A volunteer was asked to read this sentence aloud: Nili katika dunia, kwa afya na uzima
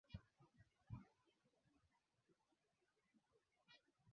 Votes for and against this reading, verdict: 0, 5, rejected